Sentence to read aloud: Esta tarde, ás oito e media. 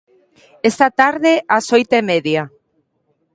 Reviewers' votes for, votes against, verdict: 2, 0, accepted